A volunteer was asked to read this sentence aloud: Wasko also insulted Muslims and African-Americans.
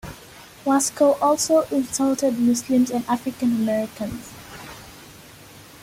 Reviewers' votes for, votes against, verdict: 2, 0, accepted